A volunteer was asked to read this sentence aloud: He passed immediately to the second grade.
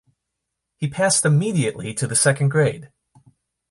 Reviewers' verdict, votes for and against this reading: accepted, 2, 0